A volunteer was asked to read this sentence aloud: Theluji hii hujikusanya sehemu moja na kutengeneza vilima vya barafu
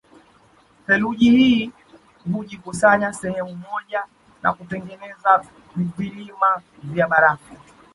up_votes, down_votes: 2, 0